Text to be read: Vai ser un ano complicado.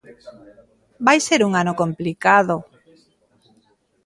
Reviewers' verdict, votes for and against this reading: accepted, 2, 1